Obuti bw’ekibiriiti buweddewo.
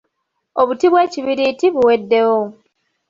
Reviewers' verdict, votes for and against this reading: rejected, 1, 2